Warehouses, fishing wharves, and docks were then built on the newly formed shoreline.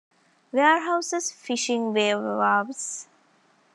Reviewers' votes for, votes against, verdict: 0, 2, rejected